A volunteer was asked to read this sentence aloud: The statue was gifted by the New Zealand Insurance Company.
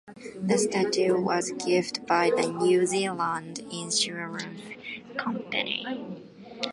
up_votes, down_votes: 0, 2